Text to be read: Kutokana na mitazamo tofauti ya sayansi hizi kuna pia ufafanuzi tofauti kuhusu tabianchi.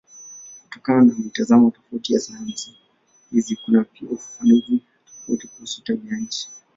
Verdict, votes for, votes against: rejected, 7, 10